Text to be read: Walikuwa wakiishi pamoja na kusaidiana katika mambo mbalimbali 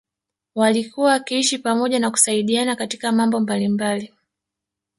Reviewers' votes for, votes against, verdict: 1, 2, rejected